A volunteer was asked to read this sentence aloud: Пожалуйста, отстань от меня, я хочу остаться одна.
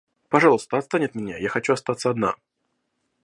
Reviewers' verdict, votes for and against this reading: accepted, 2, 0